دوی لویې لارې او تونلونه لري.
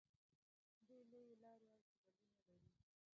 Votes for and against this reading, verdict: 2, 3, rejected